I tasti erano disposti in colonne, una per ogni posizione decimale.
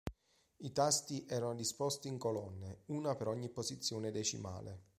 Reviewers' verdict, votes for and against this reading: accepted, 2, 0